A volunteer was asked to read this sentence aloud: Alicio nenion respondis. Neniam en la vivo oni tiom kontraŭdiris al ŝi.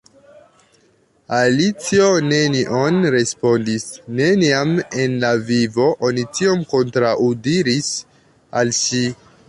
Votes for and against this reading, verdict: 1, 2, rejected